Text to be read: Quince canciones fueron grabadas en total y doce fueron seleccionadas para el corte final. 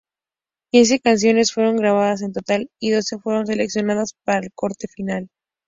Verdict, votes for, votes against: accepted, 2, 0